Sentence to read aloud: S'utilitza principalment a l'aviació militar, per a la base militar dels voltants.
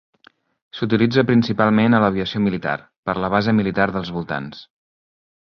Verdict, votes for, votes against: rejected, 1, 2